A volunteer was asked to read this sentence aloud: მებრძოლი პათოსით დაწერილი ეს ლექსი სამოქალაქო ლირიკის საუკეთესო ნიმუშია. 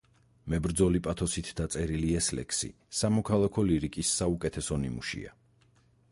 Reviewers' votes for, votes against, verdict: 4, 0, accepted